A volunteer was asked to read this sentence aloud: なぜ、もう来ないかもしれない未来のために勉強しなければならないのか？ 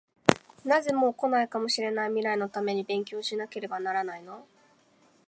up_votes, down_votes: 0, 2